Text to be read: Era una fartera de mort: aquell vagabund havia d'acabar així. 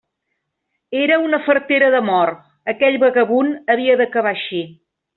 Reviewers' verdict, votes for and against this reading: accepted, 2, 0